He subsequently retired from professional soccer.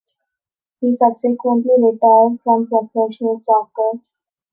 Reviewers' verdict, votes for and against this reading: accepted, 2, 0